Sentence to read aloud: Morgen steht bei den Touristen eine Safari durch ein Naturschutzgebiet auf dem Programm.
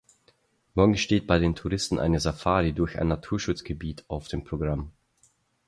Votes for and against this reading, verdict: 6, 0, accepted